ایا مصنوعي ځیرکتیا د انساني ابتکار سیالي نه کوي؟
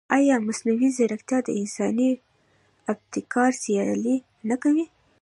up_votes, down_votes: 2, 0